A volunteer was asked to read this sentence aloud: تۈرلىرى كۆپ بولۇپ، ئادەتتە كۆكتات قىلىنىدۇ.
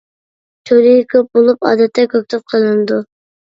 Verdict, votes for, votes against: rejected, 1, 2